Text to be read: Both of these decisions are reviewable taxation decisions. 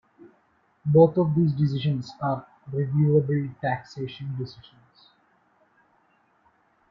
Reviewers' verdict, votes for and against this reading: accepted, 2, 0